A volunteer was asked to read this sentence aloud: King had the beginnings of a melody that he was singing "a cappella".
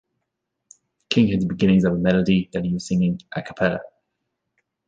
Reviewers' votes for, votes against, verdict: 1, 2, rejected